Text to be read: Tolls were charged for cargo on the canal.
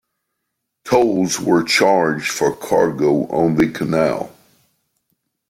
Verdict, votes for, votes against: accepted, 2, 0